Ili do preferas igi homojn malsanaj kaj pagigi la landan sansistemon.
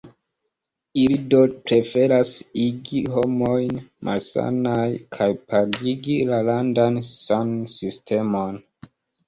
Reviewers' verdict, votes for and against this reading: rejected, 1, 2